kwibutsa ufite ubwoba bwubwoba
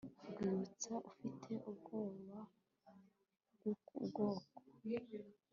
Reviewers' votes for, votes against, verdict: 1, 2, rejected